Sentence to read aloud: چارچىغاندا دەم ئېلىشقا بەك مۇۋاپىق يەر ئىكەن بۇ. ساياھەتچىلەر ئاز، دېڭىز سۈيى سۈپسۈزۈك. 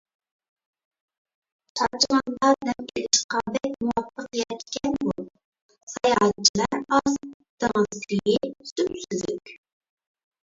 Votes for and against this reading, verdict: 0, 2, rejected